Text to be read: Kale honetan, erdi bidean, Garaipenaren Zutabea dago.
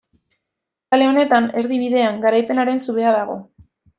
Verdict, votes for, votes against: rejected, 0, 2